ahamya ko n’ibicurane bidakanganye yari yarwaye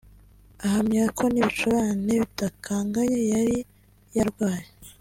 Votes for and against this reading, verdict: 2, 0, accepted